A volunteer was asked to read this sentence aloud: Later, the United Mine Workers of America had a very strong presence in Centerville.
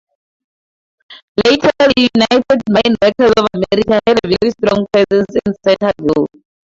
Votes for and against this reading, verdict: 2, 2, rejected